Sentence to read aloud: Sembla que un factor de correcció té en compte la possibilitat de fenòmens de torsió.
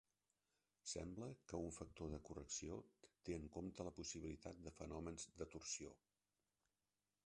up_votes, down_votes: 0, 2